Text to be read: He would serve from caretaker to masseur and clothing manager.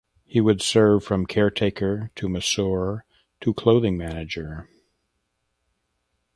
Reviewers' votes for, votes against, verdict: 1, 2, rejected